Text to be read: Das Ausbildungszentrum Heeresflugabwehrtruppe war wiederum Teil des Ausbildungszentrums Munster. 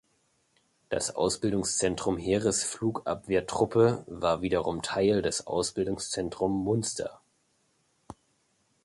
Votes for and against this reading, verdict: 0, 2, rejected